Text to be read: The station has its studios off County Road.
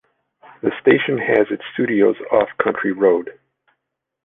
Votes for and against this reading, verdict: 1, 2, rejected